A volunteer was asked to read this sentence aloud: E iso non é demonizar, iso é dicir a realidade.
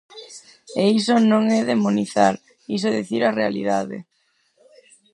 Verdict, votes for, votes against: rejected, 2, 2